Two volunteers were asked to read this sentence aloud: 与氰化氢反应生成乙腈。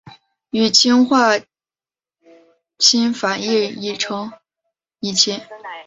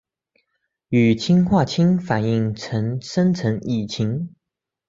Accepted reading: second